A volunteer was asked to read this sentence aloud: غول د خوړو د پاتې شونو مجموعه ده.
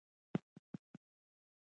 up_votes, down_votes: 2, 1